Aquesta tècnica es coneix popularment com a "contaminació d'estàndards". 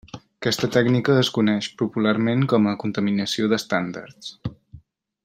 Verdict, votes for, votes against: accepted, 3, 0